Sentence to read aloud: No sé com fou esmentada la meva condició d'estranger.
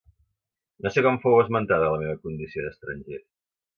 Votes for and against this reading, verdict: 2, 0, accepted